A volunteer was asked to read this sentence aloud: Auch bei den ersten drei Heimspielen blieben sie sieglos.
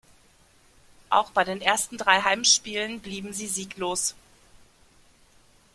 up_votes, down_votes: 2, 0